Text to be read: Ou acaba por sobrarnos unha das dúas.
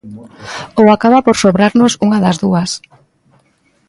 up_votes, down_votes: 2, 0